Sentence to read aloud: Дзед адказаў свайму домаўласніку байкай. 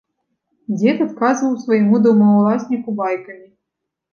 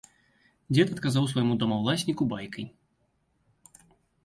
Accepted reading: second